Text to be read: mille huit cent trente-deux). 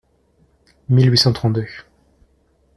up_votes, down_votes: 2, 0